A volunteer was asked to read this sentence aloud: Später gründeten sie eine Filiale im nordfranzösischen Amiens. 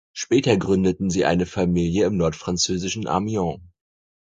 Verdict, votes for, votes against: rejected, 2, 4